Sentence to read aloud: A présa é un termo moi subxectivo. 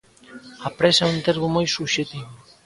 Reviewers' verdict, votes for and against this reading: rejected, 0, 2